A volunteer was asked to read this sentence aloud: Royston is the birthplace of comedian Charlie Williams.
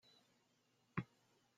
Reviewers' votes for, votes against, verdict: 0, 2, rejected